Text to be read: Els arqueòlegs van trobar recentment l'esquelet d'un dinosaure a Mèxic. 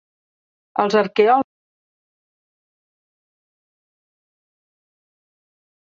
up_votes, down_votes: 0, 2